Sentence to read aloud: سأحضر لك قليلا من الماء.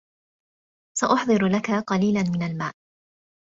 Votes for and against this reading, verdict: 0, 2, rejected